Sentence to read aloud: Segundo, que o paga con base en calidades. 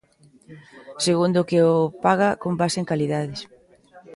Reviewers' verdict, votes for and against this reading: rejected, 1, 2